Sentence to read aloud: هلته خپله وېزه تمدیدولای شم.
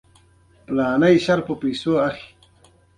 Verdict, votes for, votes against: accepted, 2, 0